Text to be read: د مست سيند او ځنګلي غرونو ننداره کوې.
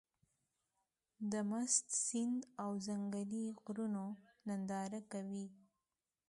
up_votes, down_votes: 1, 2